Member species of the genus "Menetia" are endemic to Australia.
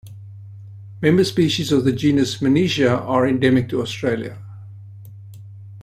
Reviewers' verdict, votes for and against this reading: accepted, 2, 0